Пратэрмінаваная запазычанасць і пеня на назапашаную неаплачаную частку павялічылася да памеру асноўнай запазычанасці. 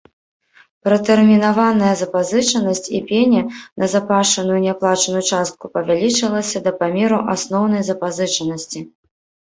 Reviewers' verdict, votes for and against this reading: rejected, 0, 2